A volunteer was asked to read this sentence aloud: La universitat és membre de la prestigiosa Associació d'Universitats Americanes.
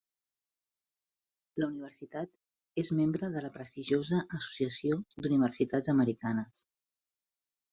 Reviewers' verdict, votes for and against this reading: rejected, 1, 2